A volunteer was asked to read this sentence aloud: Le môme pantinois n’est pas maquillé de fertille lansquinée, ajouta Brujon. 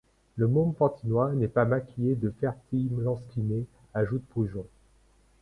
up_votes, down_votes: 1, 2